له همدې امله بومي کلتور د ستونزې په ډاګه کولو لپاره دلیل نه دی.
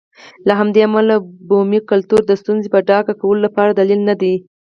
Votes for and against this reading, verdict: 2, 4, rejected